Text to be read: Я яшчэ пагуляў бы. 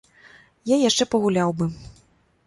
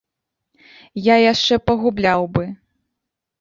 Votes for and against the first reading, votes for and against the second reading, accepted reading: 2, 0, 0, 2, first